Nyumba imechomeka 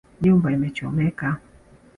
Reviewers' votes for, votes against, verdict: 4, 1, accepted